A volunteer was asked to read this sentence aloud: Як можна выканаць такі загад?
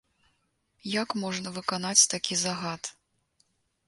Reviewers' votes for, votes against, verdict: 0, 2, rejected